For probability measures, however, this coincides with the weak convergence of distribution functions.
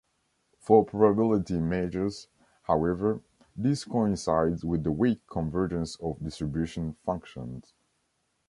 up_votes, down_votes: 0, 2